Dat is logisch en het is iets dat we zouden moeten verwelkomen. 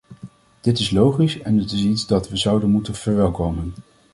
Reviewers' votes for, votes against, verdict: 1, 2, rejected